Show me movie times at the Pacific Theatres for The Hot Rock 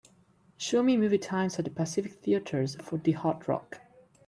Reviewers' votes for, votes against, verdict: 3, 1, accepted